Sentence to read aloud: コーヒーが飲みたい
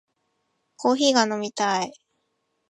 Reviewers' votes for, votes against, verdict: 2, 0, accepted